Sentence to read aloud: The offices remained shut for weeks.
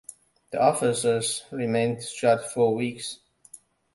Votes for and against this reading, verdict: 1, 2, rejected